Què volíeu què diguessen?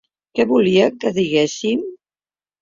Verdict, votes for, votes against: rejected, 0, 3